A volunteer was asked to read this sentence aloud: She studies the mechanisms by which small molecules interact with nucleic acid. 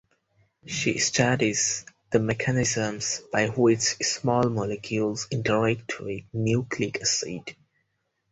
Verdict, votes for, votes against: accepted, 4, 2